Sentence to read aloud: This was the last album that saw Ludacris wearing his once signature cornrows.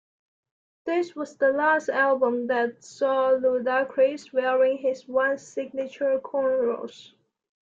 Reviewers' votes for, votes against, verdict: 2, 0, accepted